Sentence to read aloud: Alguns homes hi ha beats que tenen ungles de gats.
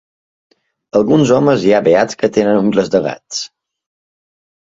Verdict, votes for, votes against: accepted, 2, 0